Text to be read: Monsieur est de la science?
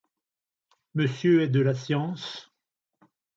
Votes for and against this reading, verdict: 2, 0, accepted